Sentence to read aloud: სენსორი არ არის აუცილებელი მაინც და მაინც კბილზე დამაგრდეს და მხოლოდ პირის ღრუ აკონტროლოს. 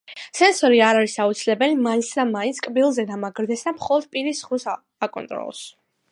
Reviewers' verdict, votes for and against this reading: accepted, 3, 1